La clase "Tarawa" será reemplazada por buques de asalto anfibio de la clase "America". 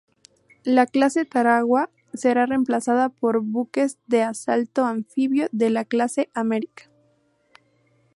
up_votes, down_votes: 0, 2